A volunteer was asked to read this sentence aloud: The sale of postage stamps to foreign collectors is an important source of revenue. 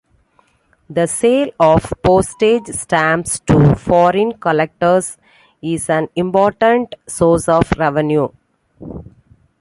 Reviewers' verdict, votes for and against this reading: accepted, 2, 0